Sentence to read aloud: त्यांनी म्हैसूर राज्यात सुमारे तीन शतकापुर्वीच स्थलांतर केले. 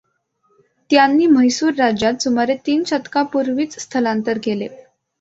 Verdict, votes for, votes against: accepted, 2, 0